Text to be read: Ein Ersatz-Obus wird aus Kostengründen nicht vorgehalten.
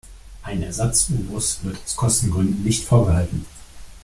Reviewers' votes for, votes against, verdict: 0, 2, rejected